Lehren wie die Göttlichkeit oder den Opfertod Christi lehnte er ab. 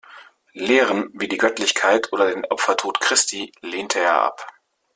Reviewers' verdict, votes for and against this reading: accepted, 2, 0